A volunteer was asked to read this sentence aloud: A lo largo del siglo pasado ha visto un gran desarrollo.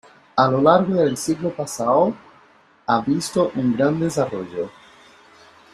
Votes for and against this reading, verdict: 0, 2, rejected